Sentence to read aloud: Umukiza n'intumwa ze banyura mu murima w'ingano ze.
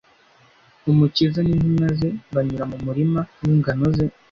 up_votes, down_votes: 2, 0